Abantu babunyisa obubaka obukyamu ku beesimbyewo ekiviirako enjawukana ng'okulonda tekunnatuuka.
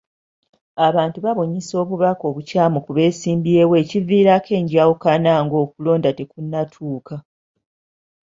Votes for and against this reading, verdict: 2, 0, accepted